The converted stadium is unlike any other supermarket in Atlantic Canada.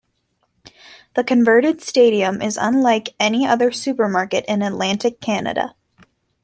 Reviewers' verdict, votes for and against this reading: accepted, 2, 0